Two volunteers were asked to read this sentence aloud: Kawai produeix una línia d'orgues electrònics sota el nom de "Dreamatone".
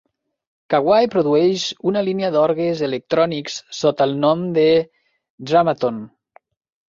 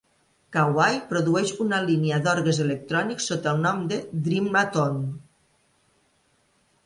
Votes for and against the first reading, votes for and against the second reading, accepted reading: 1, 2, 2, 0, second